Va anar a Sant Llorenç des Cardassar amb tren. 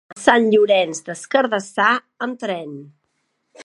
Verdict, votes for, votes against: rejected, 0, 3